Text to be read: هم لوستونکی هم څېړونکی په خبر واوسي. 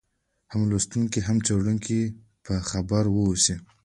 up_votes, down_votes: 1, 2